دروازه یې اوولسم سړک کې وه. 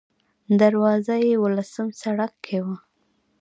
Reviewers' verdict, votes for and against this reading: rejected, 1, 2